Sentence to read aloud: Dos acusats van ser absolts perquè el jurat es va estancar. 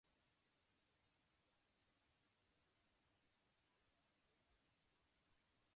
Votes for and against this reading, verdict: 0, 2, rejected